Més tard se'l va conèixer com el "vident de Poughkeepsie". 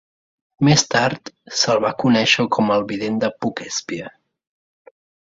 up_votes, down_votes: 2, 0